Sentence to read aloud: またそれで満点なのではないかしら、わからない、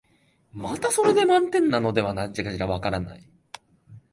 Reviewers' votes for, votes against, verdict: 1, 2, rejected